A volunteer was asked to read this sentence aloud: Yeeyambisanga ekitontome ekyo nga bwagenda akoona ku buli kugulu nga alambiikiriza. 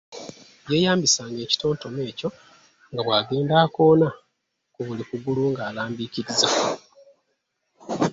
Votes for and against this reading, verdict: 1, 2, rejected